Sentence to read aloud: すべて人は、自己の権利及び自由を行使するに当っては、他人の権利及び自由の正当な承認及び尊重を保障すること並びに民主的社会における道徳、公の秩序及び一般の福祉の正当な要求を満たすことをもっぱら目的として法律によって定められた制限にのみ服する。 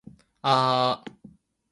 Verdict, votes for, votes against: rejected, 1, 2